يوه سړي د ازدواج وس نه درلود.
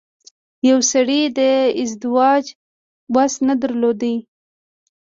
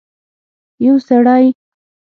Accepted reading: first